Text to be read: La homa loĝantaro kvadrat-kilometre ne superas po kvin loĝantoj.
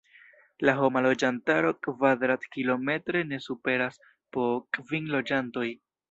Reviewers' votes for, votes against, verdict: 2, 0, accepted